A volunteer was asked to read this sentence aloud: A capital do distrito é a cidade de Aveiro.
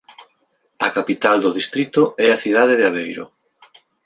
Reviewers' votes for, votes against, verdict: 2, 0, accepted